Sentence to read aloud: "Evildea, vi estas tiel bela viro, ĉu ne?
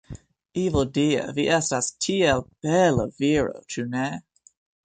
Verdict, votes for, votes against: rejected, 0, 2